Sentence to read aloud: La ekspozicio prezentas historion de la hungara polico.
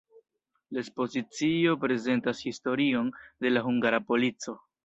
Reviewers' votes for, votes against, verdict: 1, 2, rejected